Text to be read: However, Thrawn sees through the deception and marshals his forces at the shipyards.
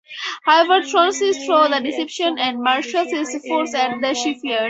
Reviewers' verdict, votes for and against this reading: rejected, 0, 4